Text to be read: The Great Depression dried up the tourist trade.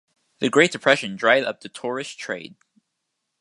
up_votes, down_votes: 2, 0